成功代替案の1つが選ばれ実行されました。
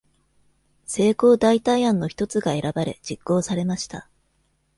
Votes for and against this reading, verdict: 0, 2, rejected